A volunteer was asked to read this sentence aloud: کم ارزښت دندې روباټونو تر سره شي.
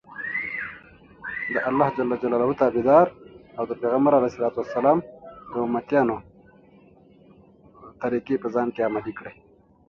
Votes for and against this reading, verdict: 1, 2, rejected